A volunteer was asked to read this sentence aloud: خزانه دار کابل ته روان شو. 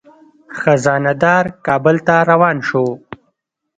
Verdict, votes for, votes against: accepted, 2, 0